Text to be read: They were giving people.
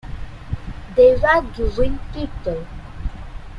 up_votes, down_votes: 2, 1